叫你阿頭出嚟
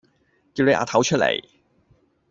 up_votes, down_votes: 1, 2